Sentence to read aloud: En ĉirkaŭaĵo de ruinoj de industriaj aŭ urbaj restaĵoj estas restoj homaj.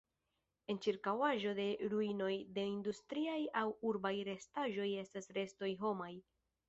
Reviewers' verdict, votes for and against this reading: accepted, 2, 0